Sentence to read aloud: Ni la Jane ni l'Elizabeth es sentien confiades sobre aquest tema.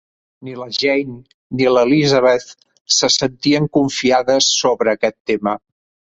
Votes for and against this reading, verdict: 0, 3, rejected